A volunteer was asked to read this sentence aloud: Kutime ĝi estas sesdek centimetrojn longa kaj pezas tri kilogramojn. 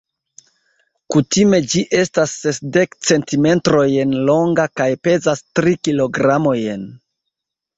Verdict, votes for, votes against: rejected, 0, 2